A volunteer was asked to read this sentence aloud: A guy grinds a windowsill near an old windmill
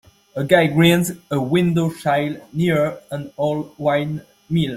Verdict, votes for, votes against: rejected, 1, 2